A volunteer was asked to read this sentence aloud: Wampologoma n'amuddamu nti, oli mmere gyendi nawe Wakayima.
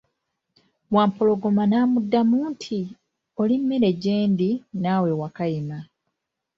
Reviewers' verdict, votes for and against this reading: rejected, 1, 2